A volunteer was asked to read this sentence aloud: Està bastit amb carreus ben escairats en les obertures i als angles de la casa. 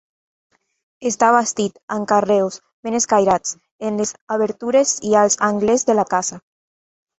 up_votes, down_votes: 2, 1